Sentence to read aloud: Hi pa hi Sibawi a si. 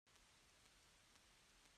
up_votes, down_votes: 1, 2